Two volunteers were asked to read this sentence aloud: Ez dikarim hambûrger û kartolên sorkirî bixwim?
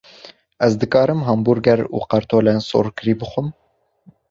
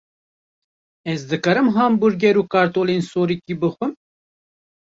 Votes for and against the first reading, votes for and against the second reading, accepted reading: 2, 0, 1, 2, first